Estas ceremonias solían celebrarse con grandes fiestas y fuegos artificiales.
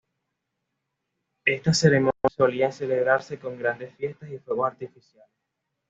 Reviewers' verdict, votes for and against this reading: accepted, 2, 0